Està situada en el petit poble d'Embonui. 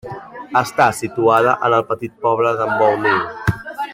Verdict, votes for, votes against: rejected, 0, 2